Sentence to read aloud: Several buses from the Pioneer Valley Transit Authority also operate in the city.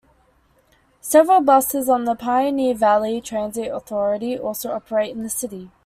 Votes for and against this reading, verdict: 1, 2, rejected